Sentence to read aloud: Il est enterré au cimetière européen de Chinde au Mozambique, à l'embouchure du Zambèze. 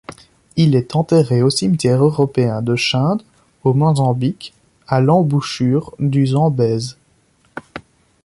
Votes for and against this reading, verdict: 2, 0, accepted